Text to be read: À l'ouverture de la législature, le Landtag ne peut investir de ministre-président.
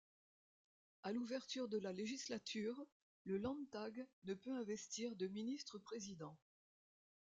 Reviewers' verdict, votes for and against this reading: accepted, 2, 0